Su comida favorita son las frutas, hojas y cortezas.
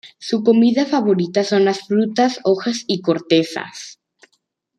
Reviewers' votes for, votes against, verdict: 2, 0, accepted